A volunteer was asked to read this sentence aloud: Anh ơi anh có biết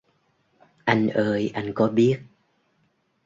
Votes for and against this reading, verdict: 2, 0, accepted